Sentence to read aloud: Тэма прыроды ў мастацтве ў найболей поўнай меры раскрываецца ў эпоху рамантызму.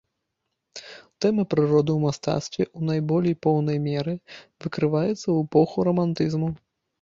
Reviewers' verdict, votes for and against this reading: rejected, 0, 2